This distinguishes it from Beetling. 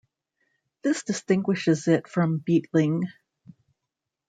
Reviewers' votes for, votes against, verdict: 2, 0, accepted